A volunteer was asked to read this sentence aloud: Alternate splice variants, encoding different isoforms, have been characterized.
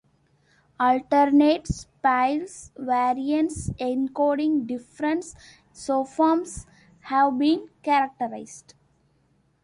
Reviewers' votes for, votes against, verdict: 0, 2, rejected